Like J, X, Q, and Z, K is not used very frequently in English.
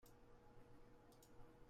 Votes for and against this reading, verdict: 1, 2, rejected